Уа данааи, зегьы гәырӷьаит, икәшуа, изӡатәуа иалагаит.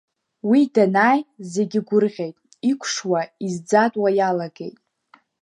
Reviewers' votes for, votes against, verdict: 1, 2, rejected